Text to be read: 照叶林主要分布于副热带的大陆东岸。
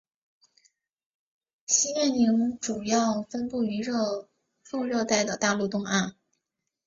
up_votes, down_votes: 1, 2